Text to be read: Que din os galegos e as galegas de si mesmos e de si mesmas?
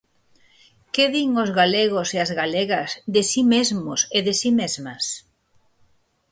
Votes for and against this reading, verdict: 4, 0, accepted